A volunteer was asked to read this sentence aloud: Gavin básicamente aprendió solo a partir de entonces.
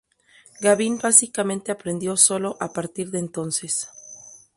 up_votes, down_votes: 2, 2